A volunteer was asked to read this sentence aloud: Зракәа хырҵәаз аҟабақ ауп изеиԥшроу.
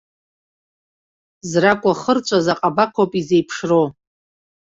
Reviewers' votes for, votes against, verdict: 2, 0, accepted